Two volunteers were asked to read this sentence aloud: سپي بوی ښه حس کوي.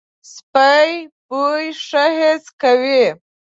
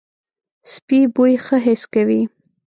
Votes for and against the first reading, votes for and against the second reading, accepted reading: 1, 2, 2, 0, second